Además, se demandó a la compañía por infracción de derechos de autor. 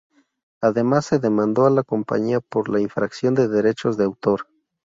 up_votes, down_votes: 2, 2